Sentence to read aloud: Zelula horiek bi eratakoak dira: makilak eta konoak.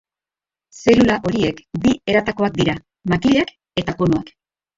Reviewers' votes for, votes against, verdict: 2, 3, rejected